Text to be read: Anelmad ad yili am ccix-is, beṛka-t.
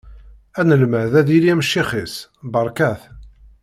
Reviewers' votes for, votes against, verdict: 2, 0, accepted